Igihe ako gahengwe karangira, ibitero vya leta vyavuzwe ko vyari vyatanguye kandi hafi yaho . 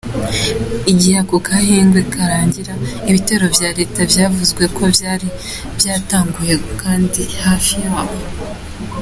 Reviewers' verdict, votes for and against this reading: accepted, 2, 1